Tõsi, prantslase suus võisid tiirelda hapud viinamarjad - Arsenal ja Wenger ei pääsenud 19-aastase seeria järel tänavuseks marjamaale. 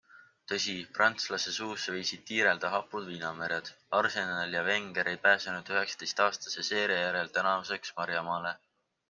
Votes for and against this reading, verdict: 0, 2, rejected